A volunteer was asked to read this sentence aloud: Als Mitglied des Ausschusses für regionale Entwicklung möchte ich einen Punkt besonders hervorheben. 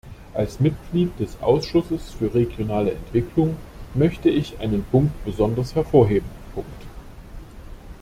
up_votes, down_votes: 0, 2